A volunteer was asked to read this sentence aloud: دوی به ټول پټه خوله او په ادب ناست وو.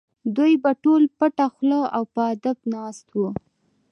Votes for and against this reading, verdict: 2, 0, accepted